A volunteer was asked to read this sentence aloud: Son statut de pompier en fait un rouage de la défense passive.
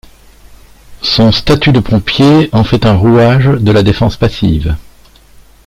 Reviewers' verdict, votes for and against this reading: accepted, 2, 0